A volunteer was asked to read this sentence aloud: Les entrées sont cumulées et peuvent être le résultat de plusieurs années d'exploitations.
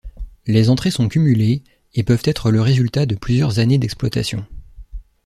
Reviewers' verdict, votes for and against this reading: accepted, 2, 0